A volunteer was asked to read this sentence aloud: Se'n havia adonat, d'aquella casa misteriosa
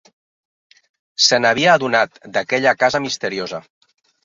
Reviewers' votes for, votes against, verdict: 2, 0, accepted